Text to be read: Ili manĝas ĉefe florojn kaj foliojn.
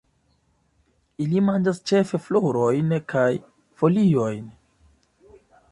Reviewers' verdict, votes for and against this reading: accepted, 3, 0